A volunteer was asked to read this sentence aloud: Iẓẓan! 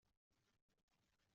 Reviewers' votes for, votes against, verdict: 0, 2, rejected